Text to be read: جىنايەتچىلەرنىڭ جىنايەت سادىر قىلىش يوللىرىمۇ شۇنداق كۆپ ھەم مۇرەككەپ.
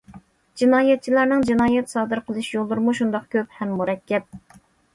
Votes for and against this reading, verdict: 2, 0, accepted